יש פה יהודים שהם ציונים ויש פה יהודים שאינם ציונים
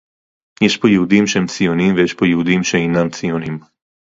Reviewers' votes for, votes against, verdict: 2, 0, accepted